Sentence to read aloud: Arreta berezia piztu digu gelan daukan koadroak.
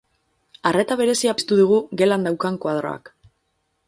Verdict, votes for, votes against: accepted, 4, 0